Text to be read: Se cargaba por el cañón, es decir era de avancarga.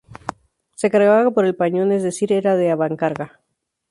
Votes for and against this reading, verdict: 0, 2, rejected